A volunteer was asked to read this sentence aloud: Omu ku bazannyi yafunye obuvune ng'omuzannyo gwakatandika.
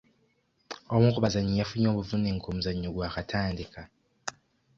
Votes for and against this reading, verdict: 2, 1, accepted